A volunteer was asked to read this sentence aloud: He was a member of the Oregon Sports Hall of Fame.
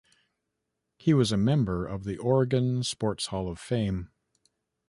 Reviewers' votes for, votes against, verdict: 2, 0, accepted